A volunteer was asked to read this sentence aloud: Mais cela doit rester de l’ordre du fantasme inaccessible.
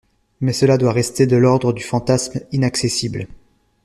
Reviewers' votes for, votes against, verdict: 2, 0, accepted